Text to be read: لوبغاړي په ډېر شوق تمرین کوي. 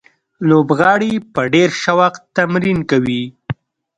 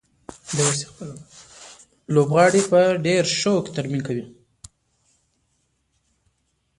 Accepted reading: first